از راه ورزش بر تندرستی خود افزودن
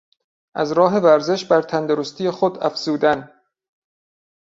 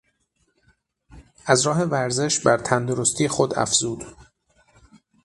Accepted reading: first